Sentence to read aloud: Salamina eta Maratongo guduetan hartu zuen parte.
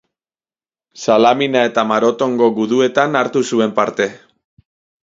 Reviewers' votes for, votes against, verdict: 2, 2, rejected